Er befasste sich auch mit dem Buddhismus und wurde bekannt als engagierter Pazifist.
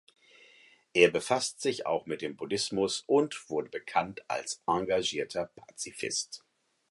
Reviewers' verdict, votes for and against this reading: rejected, 0, 4